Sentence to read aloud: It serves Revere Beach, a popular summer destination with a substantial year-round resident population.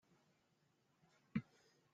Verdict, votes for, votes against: rejected, 0, 2